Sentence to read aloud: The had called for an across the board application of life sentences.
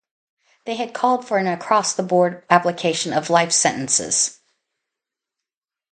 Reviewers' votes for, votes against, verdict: 2, 0, accepted